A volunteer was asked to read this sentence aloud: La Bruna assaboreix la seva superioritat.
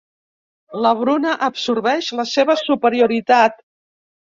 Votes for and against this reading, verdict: 0, 2, rejected